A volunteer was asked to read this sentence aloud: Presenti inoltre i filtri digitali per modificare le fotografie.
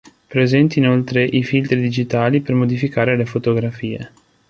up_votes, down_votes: 2, 0